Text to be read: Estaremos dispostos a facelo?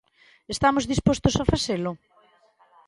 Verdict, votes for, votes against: rejected, 1, 2